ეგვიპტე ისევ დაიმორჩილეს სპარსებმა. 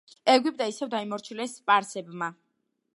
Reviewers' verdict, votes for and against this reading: accepted, 2, 0